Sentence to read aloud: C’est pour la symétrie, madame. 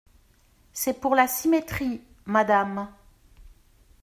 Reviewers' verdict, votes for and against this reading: accepted, 2, 0